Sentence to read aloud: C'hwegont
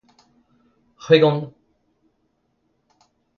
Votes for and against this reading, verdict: 2, 0, accepted